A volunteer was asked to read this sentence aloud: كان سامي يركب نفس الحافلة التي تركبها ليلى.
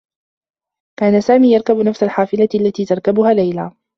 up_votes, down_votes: 0, 2